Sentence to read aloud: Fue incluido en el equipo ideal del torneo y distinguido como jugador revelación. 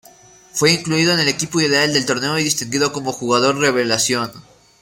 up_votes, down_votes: 1, 2